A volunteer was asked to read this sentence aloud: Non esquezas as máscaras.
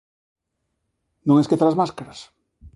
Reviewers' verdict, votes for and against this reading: accepted, 2, 1